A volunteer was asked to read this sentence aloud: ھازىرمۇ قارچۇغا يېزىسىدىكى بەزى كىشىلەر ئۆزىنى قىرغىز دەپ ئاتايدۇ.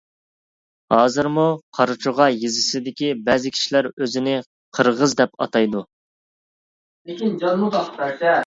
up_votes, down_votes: 1, 2